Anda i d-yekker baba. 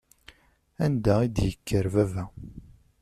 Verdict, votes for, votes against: accepted, 2, 0